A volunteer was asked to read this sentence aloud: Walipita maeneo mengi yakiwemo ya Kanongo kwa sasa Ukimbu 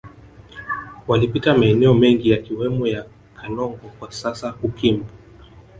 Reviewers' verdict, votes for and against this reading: rejected, 0, 2